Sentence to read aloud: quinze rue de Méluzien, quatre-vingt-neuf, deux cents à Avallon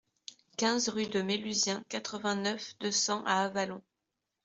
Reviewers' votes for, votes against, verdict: 2, 0, accepted